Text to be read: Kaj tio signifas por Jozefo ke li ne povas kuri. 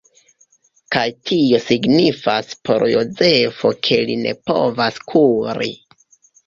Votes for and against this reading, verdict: 0, 2, rejected